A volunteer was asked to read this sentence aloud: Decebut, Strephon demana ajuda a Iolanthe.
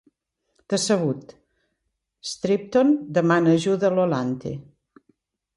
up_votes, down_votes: 1, 2